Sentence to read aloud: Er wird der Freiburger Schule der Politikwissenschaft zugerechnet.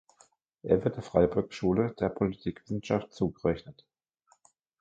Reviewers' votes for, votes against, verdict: 0, 2, rejected